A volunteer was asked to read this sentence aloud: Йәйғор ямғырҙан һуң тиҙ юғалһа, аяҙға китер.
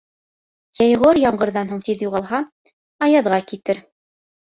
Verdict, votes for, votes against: accepted, 2, 0